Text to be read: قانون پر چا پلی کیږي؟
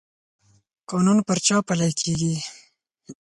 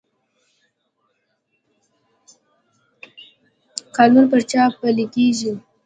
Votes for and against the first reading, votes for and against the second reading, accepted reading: 4, 0, 1, 2, first